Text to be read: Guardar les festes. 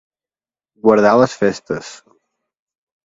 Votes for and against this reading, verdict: 2, 0, accepted